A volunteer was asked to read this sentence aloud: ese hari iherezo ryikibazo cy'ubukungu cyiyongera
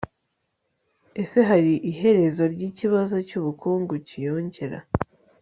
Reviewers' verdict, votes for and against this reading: accepted, 2, 0